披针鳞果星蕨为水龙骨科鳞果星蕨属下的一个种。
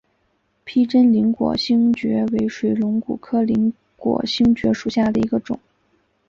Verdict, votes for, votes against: accepted, 2, 0